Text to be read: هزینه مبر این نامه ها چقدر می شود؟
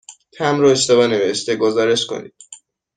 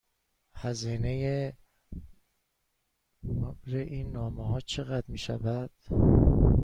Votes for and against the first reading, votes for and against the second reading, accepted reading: 0, 6, 2, 1, second